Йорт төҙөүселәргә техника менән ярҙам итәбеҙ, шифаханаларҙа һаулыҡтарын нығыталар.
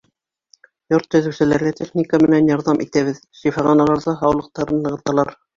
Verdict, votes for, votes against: rejected, 0, 2